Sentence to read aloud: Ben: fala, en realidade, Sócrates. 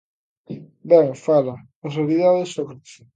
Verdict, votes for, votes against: accepted, 2, 0